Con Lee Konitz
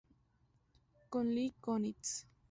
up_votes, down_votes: 2, 0